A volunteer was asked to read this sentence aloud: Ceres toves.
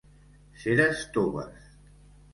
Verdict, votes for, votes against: accepted, 2, 1